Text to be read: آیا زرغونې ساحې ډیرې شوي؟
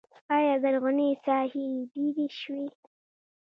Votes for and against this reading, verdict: 2, 0, accepted